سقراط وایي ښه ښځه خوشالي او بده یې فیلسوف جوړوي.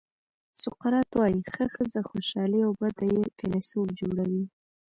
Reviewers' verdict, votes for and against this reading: accepted, 2, 0